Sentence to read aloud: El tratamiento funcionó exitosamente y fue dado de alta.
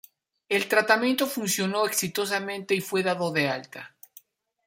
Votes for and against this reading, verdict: 2, 1, accepted